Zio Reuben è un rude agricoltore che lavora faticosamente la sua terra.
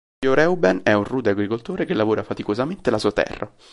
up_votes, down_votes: 1, 2